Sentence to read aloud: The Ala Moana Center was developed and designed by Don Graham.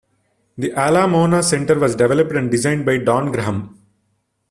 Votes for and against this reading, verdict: 0, 2, rejected